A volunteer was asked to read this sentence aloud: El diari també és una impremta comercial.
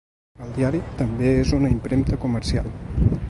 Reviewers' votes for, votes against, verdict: 2, 0, accepted